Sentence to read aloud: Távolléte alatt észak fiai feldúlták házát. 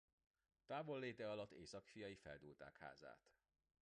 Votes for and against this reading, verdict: 1, 2, rejected